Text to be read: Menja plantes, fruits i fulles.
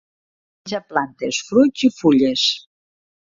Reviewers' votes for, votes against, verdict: 0, 2, rejected